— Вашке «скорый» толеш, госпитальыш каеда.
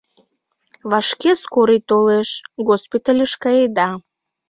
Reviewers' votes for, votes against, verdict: 2, 0, accepted